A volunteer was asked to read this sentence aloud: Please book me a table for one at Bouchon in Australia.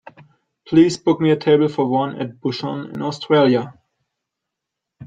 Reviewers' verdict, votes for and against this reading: accepted, 2, 0